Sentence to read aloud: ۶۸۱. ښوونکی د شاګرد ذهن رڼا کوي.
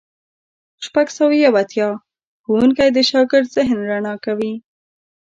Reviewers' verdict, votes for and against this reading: rejected, 0, 2